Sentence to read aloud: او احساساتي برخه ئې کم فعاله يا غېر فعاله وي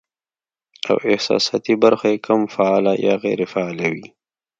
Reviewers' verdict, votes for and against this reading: accepted, 2, 0